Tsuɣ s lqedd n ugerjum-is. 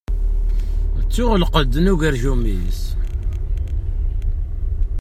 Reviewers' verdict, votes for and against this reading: rejected, 1, 2